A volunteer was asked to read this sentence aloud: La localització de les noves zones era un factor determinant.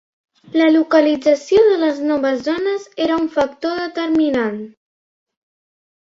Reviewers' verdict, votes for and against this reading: accepted, 2, 0